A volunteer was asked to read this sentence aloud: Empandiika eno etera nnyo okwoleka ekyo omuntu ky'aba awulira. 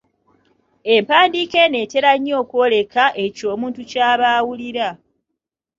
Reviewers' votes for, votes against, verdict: 2, 0, accepted